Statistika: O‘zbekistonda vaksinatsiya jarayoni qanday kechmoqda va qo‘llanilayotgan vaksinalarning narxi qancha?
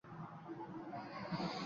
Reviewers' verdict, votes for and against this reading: rejected, 0, 2